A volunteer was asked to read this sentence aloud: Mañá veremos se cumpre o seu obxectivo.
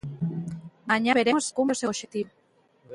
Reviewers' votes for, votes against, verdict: 0, 2, rejected